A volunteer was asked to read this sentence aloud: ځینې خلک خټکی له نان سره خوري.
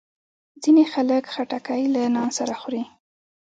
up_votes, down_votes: 2, 1